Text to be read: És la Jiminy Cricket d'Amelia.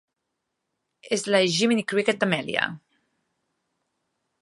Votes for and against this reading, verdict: 3, 0, accepted